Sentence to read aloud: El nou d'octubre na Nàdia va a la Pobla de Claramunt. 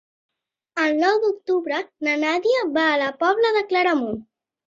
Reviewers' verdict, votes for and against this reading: accepted, 3, 0